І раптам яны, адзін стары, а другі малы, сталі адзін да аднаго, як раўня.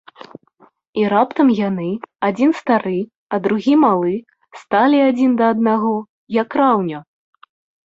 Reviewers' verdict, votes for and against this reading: rejected, 0, 2